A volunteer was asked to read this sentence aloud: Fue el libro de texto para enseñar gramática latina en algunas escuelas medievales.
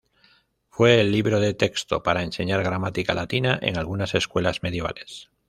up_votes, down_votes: 2, 0